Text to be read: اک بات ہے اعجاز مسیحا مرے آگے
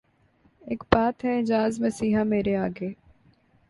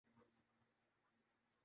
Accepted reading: first